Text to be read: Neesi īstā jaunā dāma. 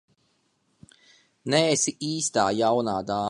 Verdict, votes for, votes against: rejected, 0, 2